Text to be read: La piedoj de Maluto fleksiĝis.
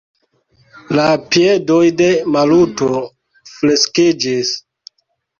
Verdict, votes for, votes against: accepted, 2, 1